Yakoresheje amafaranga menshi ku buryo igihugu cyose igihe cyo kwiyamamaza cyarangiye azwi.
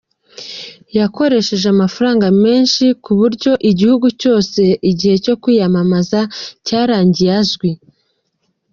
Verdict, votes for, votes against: accepted, 2, 0